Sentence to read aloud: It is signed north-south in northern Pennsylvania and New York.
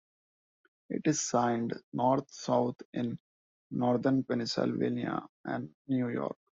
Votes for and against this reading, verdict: 2, 1, accepted